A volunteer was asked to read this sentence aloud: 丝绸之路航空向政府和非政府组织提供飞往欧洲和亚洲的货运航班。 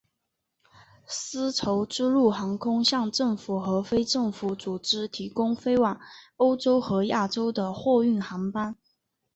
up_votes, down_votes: 6, 0